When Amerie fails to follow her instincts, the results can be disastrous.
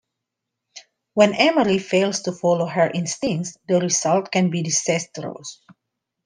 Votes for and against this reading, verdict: 2, 1, accepted